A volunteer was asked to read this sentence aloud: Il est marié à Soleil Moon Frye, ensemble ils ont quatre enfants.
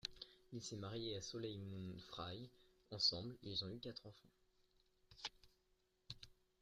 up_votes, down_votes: 0, 2